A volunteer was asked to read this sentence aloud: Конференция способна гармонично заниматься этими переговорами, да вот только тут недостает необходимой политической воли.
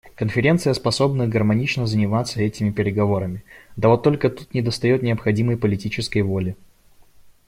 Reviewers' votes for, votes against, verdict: 1, 2, rejected